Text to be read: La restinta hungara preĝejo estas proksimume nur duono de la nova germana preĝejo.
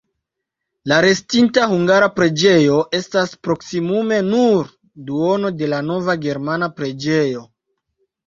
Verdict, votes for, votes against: accepted, 2, 0